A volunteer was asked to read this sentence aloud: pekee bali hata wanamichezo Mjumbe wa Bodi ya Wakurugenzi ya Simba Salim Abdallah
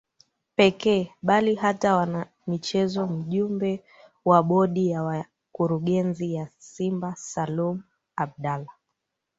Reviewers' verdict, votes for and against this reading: rejected, 1, 2